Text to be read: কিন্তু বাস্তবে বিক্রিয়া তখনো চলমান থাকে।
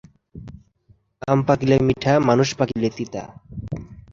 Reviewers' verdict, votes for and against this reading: rejected, 0, 3